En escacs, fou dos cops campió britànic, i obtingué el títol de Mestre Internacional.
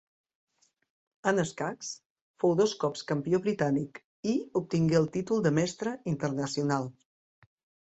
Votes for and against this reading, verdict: 2, 0, accepted